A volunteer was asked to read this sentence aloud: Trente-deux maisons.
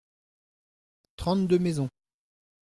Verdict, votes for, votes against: accepted, 2, 0